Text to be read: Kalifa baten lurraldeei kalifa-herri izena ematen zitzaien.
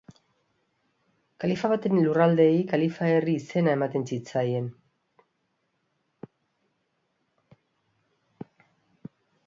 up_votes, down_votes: 2, 0